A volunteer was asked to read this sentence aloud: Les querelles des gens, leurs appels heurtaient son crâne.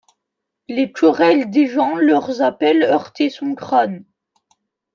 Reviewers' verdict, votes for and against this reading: accepted, 2, 0